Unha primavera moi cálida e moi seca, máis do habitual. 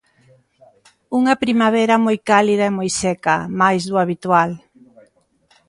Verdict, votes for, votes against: accepted, 2, 1